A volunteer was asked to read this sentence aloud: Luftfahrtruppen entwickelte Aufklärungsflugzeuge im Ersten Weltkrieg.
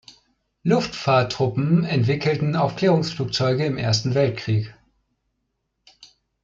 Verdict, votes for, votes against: rejected, 0, 2